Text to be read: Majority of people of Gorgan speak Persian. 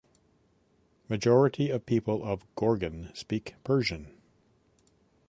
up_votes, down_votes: 3, 0